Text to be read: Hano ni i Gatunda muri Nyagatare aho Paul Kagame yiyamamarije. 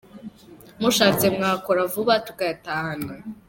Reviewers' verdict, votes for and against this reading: rejected, 0, 2